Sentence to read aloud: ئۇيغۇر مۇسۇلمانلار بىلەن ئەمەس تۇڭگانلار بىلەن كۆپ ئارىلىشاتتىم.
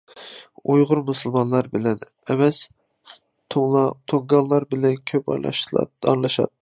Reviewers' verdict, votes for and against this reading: rejected, 0, 2